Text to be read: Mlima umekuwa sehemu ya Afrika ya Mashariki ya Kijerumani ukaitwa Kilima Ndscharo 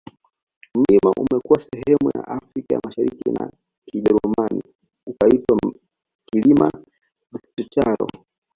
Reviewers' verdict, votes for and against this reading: accepted, 2, 0